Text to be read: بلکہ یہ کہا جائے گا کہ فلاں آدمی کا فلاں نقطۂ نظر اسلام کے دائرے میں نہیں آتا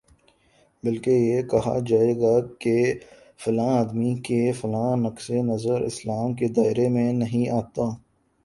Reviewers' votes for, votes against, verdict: 4, 0, accepted